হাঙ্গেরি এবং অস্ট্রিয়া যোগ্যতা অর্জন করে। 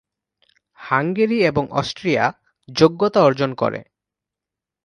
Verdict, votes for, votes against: accepted, 2, 0